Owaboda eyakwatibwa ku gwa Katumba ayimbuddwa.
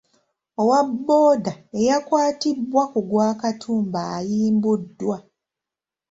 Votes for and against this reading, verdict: 2, 1, accepted